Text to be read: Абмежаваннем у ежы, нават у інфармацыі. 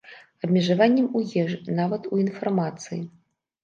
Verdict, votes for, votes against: accepted, 2, 0